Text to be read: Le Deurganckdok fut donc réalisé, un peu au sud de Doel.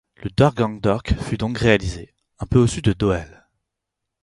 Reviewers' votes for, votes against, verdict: 4, 0, accepted